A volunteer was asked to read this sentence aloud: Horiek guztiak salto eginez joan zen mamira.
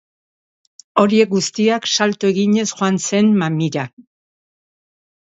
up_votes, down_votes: 3, 0